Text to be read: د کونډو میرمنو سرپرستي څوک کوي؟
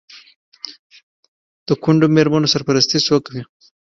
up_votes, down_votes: 2, 1